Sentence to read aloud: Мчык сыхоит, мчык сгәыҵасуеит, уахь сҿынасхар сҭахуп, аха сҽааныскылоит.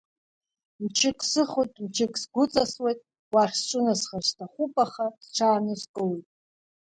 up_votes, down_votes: 0, 2